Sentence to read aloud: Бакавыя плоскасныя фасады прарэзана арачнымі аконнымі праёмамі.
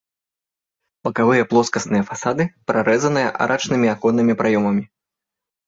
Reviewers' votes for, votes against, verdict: 2, 0, accepted